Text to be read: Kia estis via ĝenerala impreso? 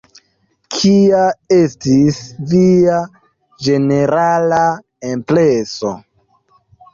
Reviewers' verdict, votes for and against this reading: rejected, 0, 2